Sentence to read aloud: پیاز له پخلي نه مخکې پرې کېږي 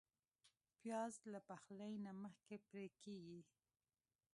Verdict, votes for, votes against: rejected, 0, 2